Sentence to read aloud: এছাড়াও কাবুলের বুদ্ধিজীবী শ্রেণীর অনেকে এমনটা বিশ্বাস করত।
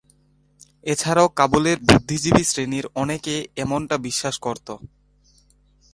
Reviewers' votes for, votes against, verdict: 2, 2, rejected